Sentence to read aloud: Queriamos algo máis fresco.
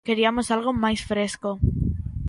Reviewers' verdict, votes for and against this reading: rejected, 0, 2